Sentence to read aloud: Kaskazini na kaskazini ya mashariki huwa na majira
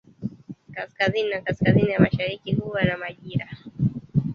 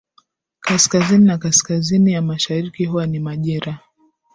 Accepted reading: second